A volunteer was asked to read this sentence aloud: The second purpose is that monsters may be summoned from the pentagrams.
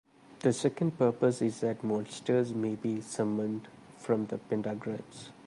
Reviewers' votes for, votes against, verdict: 2, 0, accepted